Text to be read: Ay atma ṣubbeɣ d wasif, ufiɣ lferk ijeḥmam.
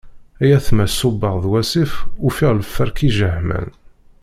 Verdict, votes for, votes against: accepted, 2, 0